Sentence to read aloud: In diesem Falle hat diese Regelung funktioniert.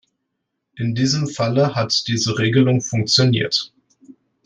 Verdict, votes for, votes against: accepted, 2, 0